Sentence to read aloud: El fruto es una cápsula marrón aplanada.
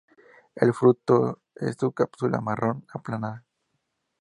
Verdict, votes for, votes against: accepted, 4, 0